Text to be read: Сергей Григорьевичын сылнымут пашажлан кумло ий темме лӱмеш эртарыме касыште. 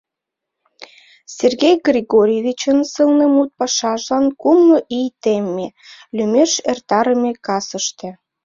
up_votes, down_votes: 1, 2